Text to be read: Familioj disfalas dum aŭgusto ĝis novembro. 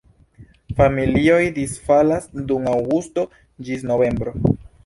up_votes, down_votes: 2, 0